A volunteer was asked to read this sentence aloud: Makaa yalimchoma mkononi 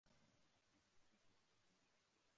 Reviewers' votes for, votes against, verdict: 0, 2, rejected